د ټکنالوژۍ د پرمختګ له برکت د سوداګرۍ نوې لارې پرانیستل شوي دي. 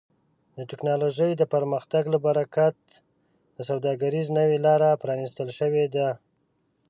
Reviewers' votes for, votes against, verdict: 1, 2, rejected